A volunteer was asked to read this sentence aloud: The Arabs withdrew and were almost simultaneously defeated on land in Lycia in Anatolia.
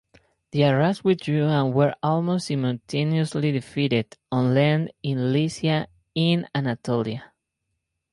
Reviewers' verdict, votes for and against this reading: accepted, 4, 2